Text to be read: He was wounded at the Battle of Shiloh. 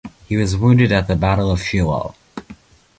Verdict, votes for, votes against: accepted, 2, 0